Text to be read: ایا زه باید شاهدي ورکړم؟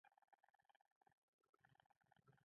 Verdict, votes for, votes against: rejected, 0, 2